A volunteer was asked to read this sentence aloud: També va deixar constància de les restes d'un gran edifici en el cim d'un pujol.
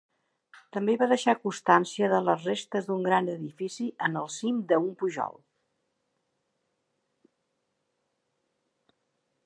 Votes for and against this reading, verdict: 1, 2, rejected